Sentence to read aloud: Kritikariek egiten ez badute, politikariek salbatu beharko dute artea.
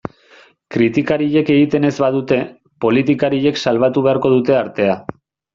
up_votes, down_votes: 2, 0